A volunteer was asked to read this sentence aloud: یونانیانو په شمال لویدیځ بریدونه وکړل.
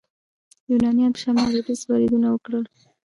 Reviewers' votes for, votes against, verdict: 1, 2, rejected